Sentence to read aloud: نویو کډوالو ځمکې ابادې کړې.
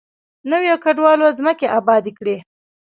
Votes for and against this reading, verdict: 0, 2, rejected